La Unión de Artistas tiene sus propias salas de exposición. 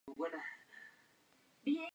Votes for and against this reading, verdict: 0, 2, rejected